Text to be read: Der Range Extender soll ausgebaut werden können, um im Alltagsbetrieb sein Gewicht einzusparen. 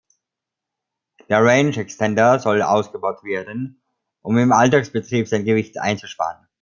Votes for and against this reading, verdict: 0, 2, rejected